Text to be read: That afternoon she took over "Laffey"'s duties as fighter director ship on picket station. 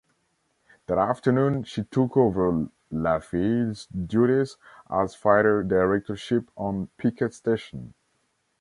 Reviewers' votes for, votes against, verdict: 2, 1, accepted